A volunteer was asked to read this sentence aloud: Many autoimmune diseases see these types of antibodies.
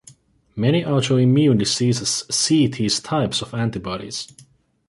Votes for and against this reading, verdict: 2, 0, accepted